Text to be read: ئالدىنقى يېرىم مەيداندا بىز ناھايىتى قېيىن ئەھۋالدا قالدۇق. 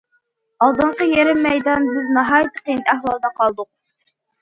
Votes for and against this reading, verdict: 1, 2, rejected